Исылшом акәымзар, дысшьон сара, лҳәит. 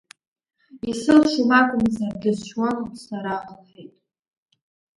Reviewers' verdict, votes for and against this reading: rejected, 0, 2